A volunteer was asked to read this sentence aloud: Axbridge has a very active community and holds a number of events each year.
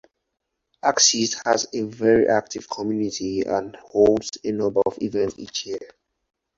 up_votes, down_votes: 0, 4